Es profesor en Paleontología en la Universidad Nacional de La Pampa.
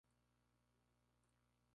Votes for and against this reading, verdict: 0, 4, rejected